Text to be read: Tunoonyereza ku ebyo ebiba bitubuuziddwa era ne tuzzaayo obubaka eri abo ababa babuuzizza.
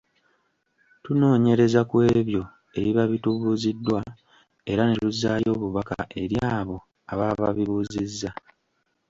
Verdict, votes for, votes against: rejected, 1, 2